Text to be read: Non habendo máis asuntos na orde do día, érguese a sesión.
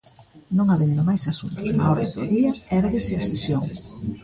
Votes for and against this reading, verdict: 2, 1, accepted